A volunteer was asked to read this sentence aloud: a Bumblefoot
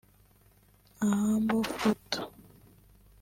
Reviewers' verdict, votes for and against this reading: rejected, 1, 2